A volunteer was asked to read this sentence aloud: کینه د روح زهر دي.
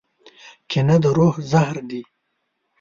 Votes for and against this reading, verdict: 2, 0, accepted